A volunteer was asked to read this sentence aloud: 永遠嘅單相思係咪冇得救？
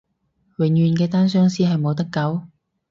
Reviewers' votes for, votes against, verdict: 0, 4, rejected